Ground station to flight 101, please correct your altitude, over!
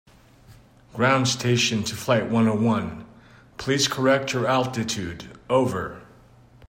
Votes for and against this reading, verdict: 0, 2, rejected